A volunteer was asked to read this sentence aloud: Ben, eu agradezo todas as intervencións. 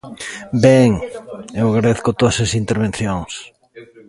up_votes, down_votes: 0, 2